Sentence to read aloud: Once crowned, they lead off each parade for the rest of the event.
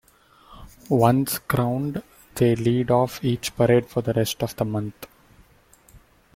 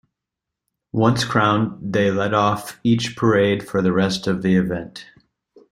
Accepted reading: second